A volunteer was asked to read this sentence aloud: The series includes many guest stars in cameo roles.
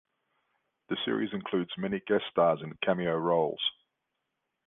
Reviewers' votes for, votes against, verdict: 2, 0, accepted